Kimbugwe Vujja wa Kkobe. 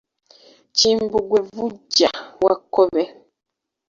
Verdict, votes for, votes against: rejected, 0, 2